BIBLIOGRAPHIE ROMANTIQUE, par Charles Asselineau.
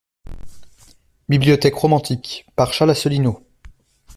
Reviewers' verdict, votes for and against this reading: rejected, 0, 2